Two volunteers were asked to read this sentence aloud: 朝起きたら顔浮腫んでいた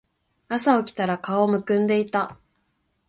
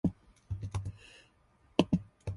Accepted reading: second